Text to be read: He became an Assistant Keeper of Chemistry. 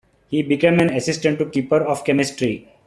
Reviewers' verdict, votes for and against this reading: rejected, 1, 2